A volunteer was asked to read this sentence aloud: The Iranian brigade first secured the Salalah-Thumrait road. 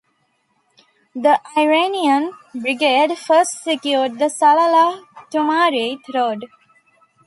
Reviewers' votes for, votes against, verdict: 2, 0, accepted